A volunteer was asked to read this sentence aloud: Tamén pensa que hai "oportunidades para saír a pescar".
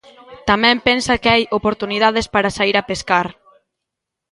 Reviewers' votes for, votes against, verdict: 1, 2, rejected